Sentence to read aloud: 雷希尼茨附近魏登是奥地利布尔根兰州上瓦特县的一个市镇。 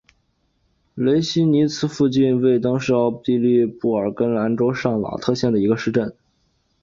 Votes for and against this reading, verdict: 2, 0, accepted